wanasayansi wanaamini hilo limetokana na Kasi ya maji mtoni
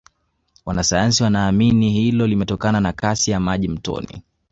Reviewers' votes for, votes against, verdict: 2, 1, accepted